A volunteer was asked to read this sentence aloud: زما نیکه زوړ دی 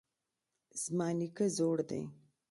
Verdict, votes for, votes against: accepted, 2, 0